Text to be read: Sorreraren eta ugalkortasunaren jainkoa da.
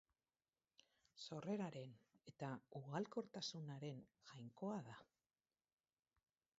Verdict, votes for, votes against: accepted, 4, 2